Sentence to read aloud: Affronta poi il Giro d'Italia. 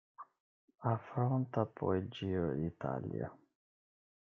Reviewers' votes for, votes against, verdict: 0, 2, rejected